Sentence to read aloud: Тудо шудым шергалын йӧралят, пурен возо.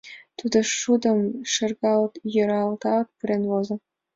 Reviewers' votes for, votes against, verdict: 1, 2, rejected